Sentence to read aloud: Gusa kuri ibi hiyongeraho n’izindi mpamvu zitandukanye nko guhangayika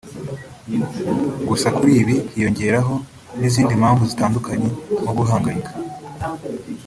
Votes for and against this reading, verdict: 2, 0, accepted